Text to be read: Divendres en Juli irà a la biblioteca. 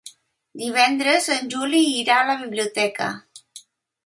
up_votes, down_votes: 3, 0